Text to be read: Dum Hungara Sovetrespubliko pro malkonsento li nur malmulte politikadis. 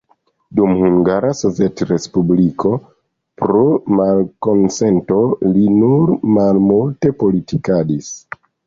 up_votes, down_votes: 2, 0